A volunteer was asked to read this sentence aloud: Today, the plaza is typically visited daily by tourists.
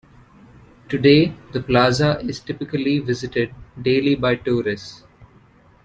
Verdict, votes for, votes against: accepted, 2, 0